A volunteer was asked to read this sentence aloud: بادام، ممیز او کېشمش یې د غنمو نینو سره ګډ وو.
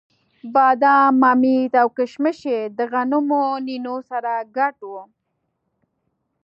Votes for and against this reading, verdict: 2, 0, accepted